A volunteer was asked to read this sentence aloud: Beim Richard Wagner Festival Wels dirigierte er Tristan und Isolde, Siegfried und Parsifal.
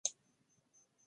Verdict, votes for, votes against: rejected, 0, 2